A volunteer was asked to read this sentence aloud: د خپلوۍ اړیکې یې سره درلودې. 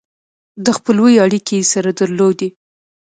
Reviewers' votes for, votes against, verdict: 2, 0, accepted